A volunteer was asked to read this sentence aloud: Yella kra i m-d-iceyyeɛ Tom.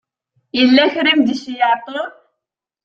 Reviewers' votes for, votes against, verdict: 2, 0, accepted